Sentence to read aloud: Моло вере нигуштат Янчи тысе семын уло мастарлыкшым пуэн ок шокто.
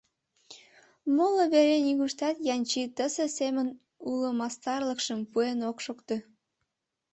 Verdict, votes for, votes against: accepted, 2, 0